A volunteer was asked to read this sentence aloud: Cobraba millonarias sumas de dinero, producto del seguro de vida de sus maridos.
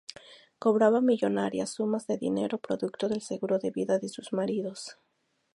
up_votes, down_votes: 4, 0